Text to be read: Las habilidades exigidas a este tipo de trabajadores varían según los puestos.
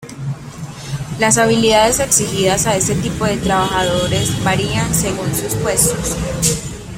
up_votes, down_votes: 0, 2